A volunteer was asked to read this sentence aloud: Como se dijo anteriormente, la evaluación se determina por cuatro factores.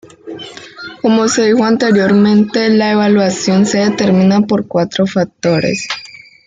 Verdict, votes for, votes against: accepted, 2, 1